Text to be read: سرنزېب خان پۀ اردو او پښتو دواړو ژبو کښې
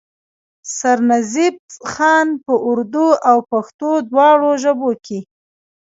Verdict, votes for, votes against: rejected, 0, 2